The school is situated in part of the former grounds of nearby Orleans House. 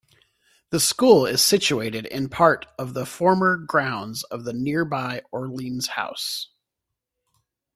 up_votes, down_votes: 2, 0